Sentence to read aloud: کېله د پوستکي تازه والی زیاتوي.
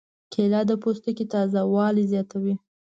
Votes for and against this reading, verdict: 2, 0, accepted